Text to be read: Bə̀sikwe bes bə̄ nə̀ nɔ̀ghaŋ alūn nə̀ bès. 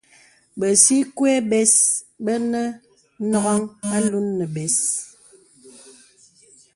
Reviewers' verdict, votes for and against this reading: accepted, 2, 1